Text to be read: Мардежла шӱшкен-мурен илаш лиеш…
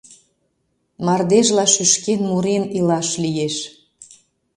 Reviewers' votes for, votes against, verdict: 2, 0, accepted